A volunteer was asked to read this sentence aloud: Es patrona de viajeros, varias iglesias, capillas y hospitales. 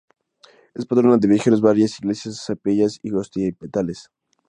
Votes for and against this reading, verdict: 0, 2, rejected